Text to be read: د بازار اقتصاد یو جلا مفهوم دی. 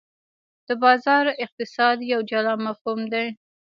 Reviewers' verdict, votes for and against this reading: rejected, 1, 2